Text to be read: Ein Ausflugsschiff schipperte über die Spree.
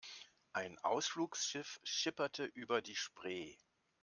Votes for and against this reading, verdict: 2, 0, accepted